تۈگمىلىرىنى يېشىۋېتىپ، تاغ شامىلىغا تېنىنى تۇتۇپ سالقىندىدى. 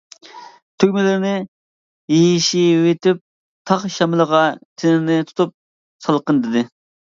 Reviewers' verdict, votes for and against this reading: rejected, 0, 2